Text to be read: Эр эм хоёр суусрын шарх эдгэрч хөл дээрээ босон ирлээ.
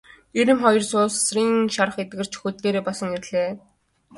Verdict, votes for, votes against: accepted, 4, 0